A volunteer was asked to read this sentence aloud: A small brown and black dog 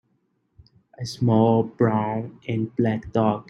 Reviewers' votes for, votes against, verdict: 3, 0, accepted